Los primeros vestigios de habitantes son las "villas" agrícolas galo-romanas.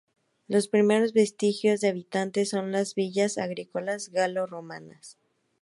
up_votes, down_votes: 0, 2